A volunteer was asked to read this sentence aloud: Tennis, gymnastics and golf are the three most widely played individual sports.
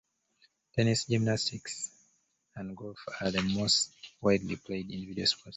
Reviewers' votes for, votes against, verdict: 0, 2, rejected